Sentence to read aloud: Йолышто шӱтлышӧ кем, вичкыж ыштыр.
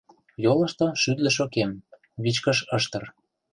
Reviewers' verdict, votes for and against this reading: rejected, 1, 2